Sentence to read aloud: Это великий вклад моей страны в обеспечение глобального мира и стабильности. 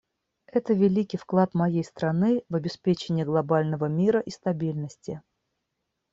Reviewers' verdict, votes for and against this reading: rejected, 1, 2